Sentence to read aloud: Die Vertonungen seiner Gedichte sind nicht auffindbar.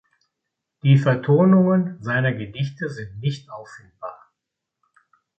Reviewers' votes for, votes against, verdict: 2, 0, accepted